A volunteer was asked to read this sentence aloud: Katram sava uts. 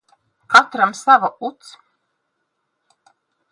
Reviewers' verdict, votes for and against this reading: accepted, 2, 0